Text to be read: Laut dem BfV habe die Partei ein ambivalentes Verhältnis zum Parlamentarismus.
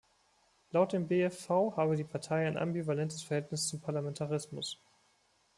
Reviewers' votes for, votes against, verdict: 2, 0, accepted